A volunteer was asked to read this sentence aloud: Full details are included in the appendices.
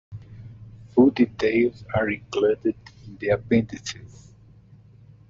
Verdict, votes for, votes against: accepted, 2, 1